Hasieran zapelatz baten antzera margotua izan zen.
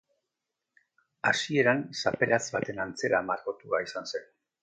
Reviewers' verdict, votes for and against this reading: accepted, 3, 0